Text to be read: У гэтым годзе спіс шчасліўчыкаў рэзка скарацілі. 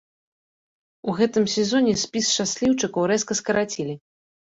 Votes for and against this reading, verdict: 0, 2, rejected